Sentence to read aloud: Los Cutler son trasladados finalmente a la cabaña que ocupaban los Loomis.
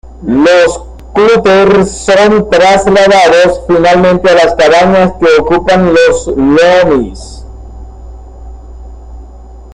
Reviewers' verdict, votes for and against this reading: rejected, 1, 2